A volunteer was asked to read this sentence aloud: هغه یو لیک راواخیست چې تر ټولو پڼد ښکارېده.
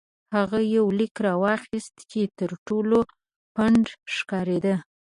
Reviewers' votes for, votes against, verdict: 2, 0, accepted